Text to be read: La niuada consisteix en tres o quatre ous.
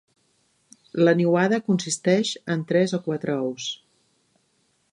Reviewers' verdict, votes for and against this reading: accepted, 3, 0